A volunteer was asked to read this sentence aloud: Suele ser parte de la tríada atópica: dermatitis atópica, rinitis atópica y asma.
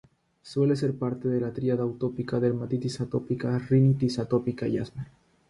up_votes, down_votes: 0, 3